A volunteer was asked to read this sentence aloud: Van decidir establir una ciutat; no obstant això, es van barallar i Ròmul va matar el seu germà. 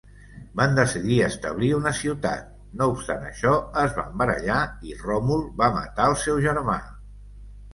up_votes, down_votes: 2, 0